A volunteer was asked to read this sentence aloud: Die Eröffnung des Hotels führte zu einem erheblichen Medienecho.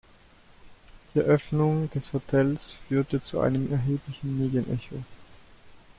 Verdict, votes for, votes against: rejected, 1, 2